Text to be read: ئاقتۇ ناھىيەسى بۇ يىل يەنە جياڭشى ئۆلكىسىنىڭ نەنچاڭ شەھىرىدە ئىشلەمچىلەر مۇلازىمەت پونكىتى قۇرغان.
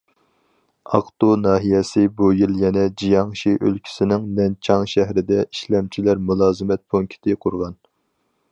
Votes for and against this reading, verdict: 4, 0, accepted